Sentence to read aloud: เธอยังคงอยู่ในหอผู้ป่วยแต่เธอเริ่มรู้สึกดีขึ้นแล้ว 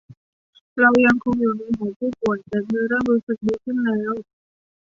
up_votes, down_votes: 0, 2